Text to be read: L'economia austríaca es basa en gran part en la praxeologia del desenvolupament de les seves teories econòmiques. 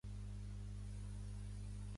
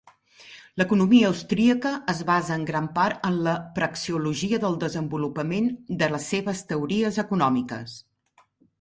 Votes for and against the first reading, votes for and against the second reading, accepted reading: 0, 2, 2, 0, second